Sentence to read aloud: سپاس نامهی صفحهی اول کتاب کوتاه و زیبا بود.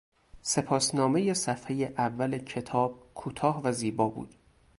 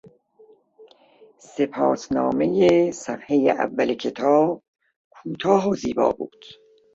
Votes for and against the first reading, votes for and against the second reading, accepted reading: 2, 0, 1, 2, first